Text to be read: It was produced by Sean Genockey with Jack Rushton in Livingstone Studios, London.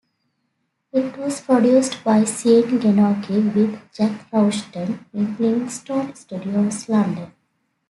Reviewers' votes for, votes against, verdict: 1, 2, rejected